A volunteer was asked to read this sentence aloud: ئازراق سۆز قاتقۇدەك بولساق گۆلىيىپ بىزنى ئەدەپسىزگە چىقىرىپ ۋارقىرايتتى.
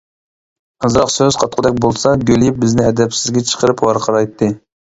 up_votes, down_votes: 1, 2